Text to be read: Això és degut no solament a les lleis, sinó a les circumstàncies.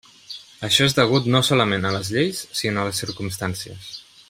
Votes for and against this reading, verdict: 3, 1, accepted